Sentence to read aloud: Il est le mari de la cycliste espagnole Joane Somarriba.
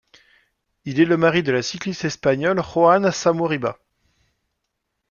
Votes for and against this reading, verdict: 0, 2, rejected